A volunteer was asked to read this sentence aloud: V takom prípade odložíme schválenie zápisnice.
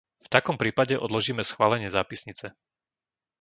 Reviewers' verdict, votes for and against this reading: accepted, 2, 0